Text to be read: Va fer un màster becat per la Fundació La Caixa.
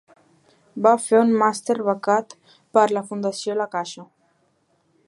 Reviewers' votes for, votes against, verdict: 2, 0, accepted